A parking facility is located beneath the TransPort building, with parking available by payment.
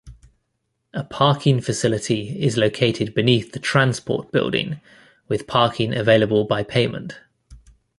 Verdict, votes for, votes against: accepted, 2, 0